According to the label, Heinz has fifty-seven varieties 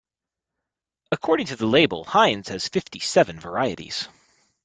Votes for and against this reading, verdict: 1, 2, rejected